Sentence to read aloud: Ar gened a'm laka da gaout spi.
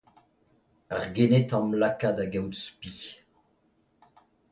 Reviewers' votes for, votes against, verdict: 2, 0, accepted